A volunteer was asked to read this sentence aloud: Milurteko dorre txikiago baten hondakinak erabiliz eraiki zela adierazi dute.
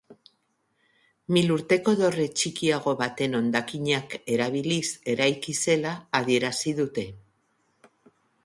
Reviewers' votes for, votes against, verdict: 2, 0, accepted